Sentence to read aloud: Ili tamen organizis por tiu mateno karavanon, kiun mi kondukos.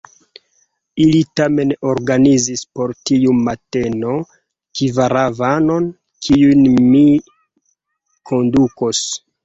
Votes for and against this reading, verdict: 0, 2, rejected